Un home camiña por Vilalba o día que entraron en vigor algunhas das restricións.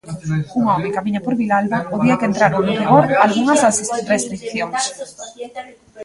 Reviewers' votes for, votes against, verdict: 0, 2, rejected